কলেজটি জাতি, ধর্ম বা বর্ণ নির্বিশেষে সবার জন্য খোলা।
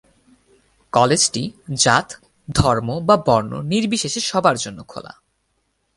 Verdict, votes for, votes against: rejected, 0, 4